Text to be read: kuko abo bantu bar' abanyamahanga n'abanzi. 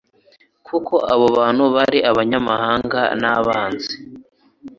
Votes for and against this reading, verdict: 2, 0, accepted